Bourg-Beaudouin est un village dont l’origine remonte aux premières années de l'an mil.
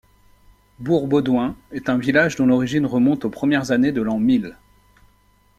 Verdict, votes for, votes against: accepted, 2, 0